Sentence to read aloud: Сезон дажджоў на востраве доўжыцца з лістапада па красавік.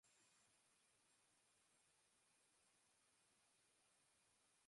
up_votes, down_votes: 0, 2